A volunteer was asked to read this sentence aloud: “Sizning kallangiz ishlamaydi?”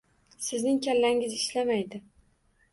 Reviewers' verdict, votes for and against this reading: accepted, 2, 0